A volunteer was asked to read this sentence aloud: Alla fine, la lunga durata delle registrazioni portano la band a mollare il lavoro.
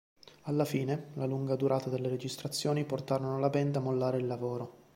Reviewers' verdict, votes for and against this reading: rejected, 1, 2